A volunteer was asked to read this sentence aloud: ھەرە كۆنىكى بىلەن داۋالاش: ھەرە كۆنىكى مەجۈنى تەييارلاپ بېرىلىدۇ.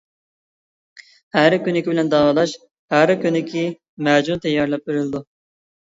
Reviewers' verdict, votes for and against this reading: rejected, 1, 2